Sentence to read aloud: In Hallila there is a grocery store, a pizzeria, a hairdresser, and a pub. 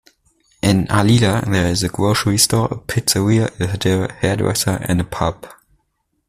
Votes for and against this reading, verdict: 0, 2, rejected